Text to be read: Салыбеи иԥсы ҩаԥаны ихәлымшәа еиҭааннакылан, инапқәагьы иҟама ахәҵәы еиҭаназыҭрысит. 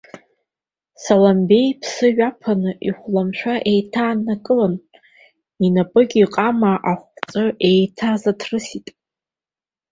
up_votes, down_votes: 1, 2